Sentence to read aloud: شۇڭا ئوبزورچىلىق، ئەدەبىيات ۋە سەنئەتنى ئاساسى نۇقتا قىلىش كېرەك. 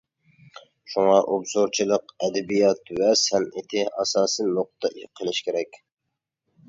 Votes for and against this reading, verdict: 0, 2, rejected